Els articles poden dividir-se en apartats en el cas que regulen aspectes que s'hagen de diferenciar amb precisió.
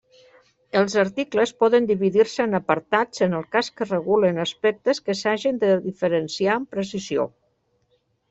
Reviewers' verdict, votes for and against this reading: accepted, 3, 0